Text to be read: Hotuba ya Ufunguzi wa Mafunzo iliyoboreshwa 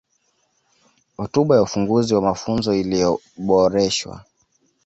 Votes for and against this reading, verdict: 2, 1, accepted